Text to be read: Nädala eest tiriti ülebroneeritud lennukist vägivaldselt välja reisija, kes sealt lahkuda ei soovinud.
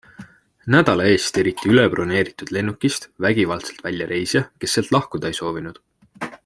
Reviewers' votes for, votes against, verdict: 2, 0, accepted